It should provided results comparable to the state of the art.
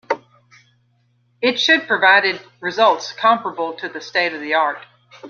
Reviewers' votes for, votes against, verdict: 3, 2, accepted